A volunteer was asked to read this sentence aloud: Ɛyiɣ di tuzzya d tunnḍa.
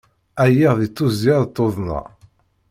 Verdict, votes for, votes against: rejected, 1, 2